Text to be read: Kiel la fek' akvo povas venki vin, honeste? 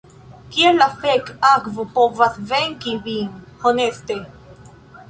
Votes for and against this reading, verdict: 2, 0, accepted